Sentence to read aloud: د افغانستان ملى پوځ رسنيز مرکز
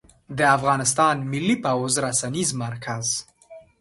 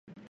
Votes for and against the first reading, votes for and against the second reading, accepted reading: 2, 0, 1, 2, first